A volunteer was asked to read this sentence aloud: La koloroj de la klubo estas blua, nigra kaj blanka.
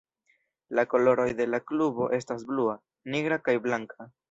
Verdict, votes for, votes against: rejected, 1, 2